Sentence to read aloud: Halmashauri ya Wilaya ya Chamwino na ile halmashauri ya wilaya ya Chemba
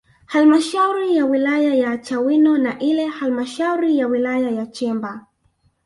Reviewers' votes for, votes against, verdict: 2, 1, accepted